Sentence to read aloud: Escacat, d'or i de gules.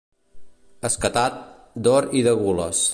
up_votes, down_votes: 1, 2